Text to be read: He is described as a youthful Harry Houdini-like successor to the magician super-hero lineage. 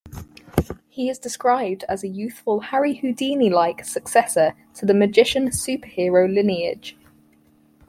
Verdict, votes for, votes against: accepted, 4, 0